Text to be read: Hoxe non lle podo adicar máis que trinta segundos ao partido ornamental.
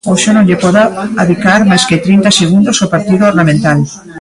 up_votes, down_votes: 1, 2